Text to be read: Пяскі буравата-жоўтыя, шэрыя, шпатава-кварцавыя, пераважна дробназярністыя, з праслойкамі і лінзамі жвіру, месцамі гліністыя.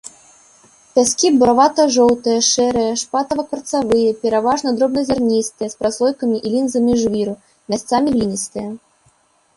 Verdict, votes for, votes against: rejected, 0, 2